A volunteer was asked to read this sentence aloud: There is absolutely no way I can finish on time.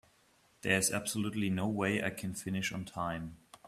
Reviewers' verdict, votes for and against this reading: accepted, 2, 1